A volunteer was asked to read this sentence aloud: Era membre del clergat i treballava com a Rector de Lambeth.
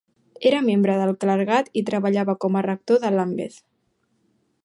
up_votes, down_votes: 3, 0